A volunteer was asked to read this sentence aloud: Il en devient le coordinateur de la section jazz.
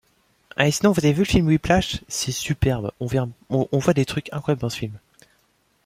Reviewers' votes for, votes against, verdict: 0, 2, rejected